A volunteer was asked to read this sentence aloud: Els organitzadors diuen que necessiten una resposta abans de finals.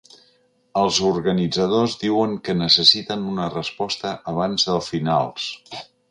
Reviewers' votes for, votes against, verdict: 0, 2, rejected